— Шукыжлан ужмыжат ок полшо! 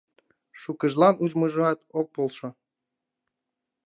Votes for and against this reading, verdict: 0, 2, rejected